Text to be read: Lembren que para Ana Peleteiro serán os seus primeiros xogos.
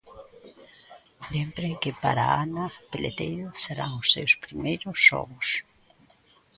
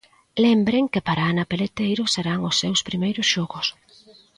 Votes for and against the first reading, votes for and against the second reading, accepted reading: 0, 2, 2, 0, second